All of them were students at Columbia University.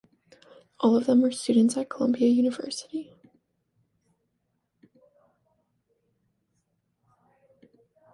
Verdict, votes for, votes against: accepted, 2, 0